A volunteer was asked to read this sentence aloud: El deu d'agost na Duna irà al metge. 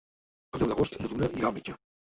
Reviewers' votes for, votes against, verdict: 0, 2, rejected